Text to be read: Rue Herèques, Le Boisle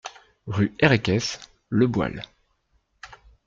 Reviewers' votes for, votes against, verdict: 2, 0, accepted